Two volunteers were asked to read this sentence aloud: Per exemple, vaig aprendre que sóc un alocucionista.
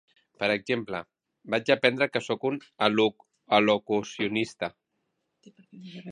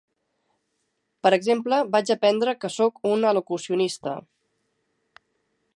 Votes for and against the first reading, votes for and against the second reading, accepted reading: 0, 2, 3, 0, second